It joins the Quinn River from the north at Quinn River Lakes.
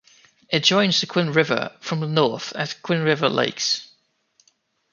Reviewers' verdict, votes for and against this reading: accepted, 2, 0